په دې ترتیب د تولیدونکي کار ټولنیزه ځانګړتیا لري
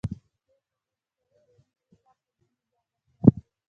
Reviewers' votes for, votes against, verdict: 1, 2, rejected